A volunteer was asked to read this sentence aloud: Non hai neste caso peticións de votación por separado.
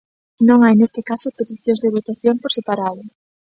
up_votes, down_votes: 2, 0